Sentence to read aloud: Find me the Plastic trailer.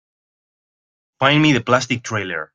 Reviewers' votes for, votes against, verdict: 1, 2, rejected